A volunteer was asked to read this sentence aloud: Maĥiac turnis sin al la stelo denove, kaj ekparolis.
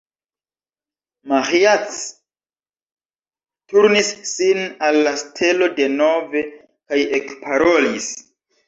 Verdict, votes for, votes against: accepted, 2, 1